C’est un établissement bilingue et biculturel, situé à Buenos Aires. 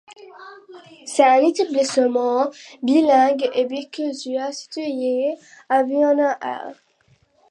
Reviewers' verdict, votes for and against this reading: rejected, 0, 2